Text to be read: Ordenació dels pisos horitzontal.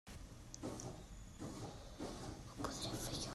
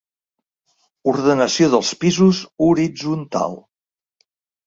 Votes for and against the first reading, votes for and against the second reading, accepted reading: 0, 2, 3, 0, second